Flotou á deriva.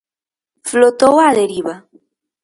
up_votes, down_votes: 4, 0